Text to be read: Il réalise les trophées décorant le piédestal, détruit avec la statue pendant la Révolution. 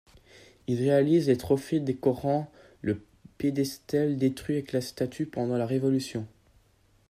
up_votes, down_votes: 1, 2